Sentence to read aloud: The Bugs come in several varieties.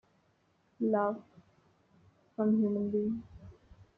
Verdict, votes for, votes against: rejected, 0, 2